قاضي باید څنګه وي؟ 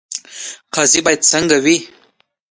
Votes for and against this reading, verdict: 3, 0, accepted